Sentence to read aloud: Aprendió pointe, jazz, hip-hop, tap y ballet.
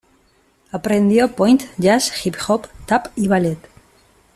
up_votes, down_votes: 2, 0